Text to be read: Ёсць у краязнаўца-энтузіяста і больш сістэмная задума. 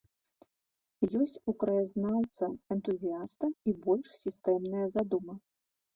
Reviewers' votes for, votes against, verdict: 1, 2, rejected